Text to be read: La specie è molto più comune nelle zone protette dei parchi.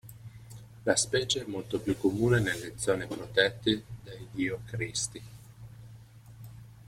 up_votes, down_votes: 0, 2